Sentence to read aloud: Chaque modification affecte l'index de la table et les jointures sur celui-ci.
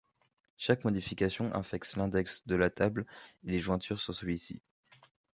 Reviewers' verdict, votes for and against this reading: accepted, 3, 2